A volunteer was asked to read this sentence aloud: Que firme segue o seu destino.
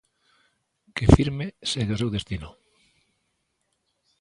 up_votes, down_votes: 2, 0